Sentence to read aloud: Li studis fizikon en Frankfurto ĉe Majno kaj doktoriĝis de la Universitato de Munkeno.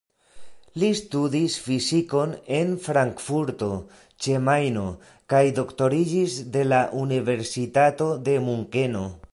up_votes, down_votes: 2, 1